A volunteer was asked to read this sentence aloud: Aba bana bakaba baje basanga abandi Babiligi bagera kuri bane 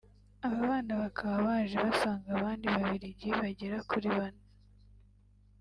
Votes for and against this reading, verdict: 2, 0, accepted